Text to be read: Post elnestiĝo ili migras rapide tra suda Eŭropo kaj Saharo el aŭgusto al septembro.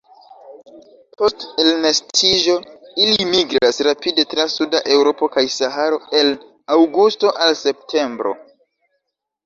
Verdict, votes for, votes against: accepted, 2, 1